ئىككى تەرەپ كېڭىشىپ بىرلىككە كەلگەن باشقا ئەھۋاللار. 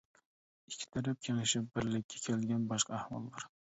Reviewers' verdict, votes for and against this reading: rejected, 1, 2